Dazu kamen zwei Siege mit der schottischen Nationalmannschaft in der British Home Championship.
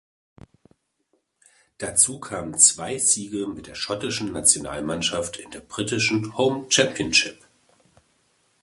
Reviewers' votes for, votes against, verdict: 1, 2, rejected